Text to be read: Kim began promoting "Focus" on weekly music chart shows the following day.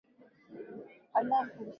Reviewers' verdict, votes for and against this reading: rejected, 0, 4